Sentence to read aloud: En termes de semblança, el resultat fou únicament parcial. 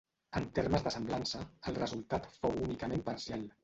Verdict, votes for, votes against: rejected, 1, 2